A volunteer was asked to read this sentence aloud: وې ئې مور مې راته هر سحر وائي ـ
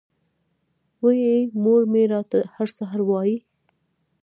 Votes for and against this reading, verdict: 0, 2, rejected